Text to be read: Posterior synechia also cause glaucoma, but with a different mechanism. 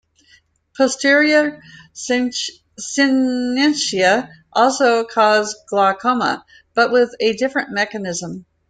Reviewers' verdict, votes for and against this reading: rejected, 0, 2